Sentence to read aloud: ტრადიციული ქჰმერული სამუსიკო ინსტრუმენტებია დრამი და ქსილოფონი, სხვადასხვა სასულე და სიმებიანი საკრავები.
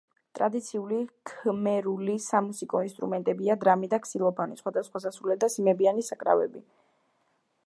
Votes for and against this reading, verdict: 1, 2, rejected